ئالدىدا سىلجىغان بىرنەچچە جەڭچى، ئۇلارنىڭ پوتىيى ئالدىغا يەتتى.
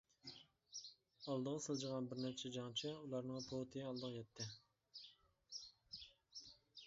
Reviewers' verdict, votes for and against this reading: rejected, 0, 2